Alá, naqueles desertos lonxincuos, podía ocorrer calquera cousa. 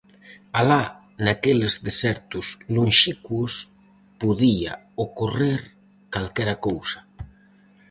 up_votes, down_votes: 0, 4